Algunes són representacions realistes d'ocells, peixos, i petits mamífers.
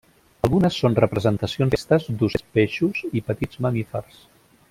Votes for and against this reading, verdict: 0, 2, rejected